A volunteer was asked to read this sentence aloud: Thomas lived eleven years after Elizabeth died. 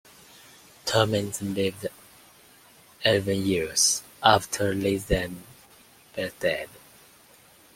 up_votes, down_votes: 0, 2